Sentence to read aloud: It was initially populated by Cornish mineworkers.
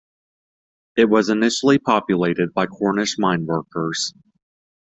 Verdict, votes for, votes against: accepted, 2, 0